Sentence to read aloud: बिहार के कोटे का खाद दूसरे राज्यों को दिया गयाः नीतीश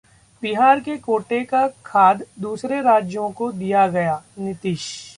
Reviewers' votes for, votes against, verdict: 2, 0, accepted